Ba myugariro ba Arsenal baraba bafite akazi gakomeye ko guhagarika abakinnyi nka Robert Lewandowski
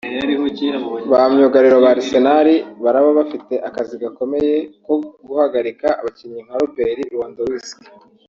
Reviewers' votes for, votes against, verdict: 1, 2, rejected